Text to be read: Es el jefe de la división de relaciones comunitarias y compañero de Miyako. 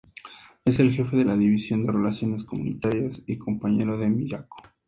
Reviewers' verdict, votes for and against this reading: accepted, 2, 0